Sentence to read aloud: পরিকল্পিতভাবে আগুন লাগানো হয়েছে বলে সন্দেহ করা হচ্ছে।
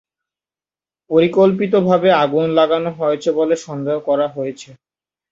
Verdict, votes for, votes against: rejected, 0, 2